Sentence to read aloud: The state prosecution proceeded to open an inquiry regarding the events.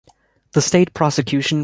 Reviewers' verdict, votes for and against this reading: rejected, 1, 2